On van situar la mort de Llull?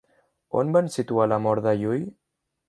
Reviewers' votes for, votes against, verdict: 2, 0, accepted